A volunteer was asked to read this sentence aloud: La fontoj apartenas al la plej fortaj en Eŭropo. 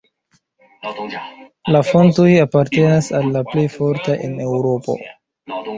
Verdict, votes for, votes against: rejected, 0, 2